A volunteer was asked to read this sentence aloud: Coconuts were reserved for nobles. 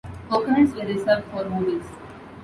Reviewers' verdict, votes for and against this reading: rejected, 1, 2